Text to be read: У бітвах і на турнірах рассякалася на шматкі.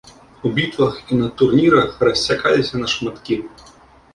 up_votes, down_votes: 1, 2